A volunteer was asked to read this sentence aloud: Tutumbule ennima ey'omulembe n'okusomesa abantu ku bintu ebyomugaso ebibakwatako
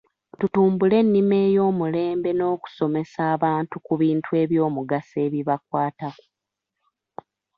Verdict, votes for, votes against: accepted, 2, 0